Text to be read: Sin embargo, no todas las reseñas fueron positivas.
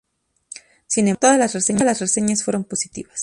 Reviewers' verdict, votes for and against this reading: rejected, 0, 2